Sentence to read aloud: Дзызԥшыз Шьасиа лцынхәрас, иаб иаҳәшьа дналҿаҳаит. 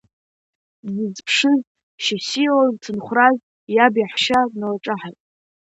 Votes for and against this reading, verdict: 2, 0, accepted